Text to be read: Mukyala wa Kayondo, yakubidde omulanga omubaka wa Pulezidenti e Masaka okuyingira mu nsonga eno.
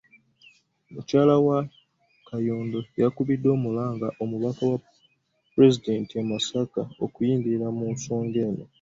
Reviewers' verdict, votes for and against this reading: accepted, 2, 0